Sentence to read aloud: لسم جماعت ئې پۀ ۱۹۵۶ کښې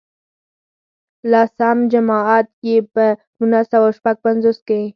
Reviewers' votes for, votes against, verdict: 0, 2, rejected